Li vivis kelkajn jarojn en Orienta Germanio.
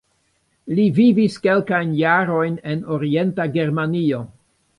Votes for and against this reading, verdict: 2, 1, accepted